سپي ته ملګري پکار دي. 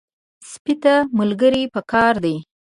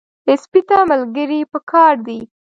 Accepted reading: first